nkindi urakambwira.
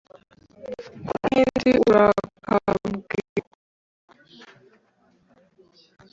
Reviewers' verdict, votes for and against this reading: rejected, 0, 2